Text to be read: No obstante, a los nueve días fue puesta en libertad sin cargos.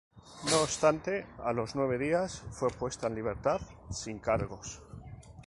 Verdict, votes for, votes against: accepted, 2, 0